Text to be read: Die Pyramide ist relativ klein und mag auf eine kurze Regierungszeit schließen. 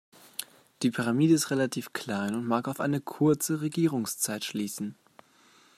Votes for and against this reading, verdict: 2, 0, accepted